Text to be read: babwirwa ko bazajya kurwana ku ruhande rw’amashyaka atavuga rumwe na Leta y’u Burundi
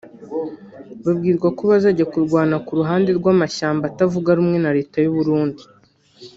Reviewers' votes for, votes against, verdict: 1, 2, rejected